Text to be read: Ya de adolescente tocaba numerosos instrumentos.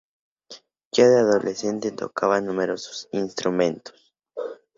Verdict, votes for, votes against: accepted, 2, 0